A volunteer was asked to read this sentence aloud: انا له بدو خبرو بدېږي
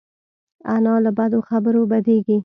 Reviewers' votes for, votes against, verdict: 2, 0, accepted